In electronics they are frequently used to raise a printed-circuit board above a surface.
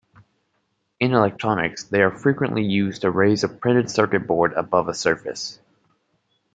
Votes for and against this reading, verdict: 2, 0, accepted